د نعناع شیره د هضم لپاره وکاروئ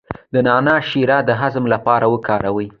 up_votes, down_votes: 2, 0